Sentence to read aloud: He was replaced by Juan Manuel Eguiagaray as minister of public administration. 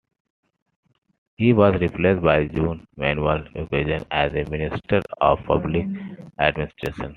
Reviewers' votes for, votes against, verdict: 0, 2, rejected